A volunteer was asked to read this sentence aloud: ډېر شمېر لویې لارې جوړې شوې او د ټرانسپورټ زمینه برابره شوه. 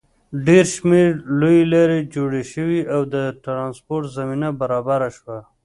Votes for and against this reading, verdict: 2, 0, accepted